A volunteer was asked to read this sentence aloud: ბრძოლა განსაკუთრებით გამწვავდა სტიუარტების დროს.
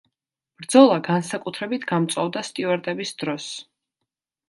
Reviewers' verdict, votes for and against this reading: accepted, 2, 0